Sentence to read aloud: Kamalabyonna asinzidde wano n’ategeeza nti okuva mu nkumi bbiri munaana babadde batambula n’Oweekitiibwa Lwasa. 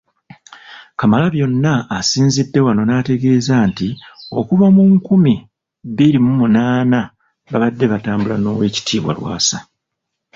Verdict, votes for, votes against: accepted, 2, 1